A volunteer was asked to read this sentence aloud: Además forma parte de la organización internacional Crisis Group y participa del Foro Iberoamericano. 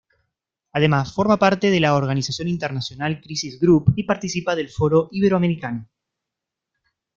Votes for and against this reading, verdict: 2, 0, accepted